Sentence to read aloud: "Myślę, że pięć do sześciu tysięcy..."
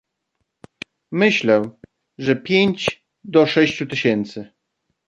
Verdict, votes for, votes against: accepted, 2, 0